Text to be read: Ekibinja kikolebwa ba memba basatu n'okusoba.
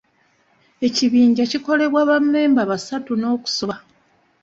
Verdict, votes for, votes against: accepted, 2, 0